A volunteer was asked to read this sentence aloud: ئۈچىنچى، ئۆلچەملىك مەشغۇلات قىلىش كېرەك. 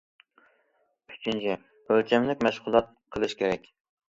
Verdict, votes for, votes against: accepted, 2, 0